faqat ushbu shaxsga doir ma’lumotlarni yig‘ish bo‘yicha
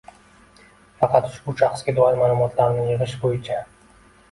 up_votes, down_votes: 2, 0